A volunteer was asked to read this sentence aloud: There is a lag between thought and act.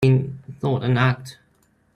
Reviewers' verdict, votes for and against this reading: rejected, 0, 2